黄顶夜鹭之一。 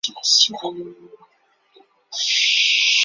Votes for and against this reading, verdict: 0, 4, rejected